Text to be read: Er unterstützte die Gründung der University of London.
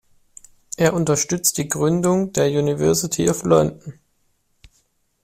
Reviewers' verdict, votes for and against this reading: rejected, 1, 2